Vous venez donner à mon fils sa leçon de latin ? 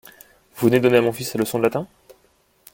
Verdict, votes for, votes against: rejected, 1, 2